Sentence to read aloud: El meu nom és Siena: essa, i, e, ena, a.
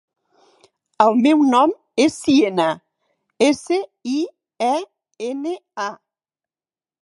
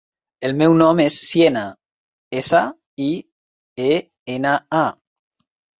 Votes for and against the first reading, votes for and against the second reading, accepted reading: 0, 6, 5, 1, second